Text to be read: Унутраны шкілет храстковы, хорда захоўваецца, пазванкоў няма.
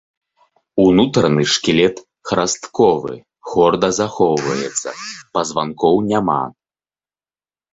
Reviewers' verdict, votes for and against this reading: rejected, 0, 2